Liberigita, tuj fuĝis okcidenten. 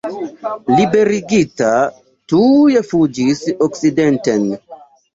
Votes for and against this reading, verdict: 1, 2, rejected